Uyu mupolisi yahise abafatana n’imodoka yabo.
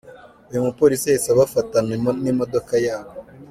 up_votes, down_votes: 0, 2